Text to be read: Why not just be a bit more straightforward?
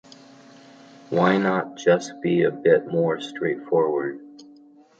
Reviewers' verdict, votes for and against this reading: accepted, 2, 0